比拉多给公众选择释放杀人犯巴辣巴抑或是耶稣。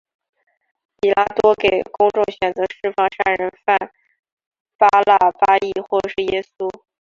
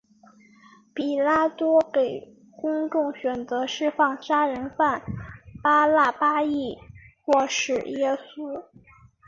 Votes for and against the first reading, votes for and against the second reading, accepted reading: 1, 3, 2, 1, second